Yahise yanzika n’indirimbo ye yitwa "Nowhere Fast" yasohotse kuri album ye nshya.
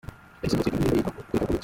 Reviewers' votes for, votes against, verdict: 0, 2, rejected